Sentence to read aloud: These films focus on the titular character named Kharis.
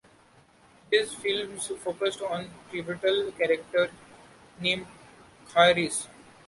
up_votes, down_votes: 1, 2